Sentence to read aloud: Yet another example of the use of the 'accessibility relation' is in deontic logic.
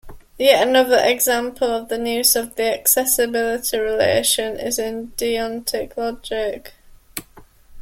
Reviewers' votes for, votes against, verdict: 0, 2, rejected